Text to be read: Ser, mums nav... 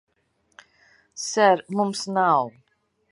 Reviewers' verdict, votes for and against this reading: accepted, 2, 0